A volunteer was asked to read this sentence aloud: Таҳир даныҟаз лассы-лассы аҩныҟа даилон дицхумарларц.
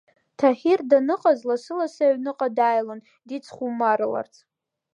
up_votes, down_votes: 2, 0